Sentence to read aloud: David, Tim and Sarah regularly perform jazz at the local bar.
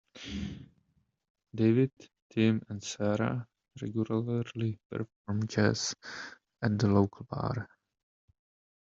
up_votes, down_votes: 1, 2